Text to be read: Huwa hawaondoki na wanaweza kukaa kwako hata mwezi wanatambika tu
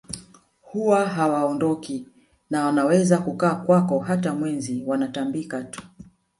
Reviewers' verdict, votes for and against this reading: rejected, 1, 2